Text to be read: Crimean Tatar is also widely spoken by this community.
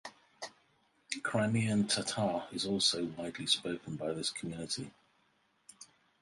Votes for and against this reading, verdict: 2, 2, rejected